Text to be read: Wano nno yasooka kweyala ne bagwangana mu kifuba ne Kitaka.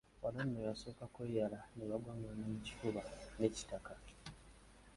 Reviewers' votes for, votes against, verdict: 1, 2, rejected